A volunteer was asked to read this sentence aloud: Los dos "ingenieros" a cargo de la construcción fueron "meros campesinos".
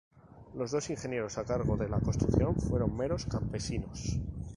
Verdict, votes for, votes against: accepted, 2, 0